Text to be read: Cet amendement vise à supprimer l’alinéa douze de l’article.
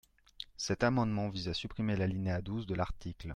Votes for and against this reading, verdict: 2, 0, accepted